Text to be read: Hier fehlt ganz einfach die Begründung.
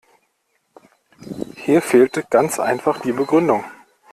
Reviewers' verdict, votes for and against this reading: rejected, 1, 2